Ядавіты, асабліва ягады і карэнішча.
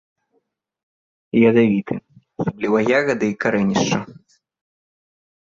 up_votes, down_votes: 1, 2